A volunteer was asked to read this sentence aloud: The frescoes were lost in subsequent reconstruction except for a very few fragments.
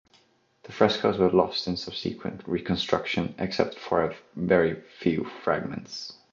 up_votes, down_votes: 2, 1